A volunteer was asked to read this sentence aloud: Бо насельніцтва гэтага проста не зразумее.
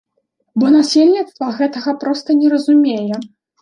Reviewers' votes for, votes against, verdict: 1, 2, rejected